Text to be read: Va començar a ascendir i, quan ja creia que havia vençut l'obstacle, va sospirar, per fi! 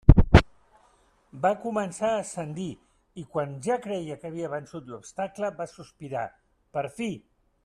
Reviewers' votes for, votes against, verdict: 2, 0, accepted